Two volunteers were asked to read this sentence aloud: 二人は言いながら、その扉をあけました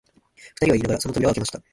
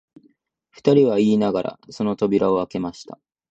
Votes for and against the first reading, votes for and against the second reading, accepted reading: 0, 4, 4, 0, second